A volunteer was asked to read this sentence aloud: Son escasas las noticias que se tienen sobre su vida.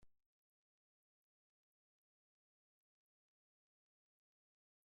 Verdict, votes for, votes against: rejected, 0, 2